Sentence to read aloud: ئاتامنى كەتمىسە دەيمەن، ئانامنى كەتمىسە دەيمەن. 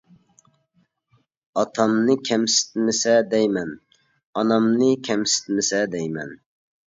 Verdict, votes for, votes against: rejected, 0, 2